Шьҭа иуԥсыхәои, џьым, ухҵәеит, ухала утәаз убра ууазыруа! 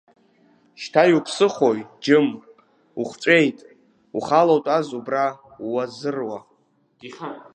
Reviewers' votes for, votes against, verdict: 0, 2, rejected